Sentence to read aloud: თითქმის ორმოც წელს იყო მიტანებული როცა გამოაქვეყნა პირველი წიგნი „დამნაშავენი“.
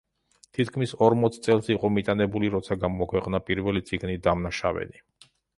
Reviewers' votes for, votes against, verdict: 2, 0, accepted